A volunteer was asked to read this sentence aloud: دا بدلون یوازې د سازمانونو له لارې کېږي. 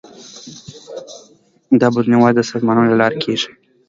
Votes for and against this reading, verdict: 2, 0, accepted